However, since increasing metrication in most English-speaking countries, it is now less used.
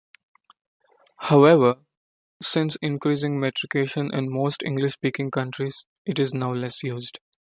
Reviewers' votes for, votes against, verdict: 2, 0, accepted